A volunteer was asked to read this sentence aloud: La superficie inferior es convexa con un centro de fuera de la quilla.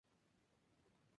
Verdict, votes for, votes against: rejected, 0, 2